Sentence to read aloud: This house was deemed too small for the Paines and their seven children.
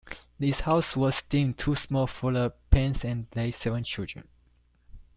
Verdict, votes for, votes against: accepted, 2, 1